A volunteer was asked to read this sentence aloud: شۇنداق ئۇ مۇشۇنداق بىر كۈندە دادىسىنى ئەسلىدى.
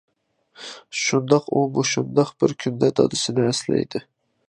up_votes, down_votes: 0, 2